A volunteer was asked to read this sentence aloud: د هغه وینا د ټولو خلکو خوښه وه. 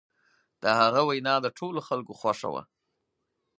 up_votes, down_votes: 4, 0